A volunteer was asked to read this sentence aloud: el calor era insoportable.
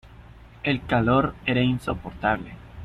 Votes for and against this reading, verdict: 2, 0, accepted